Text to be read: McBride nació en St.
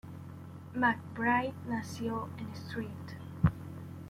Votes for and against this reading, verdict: 0, 2, rejected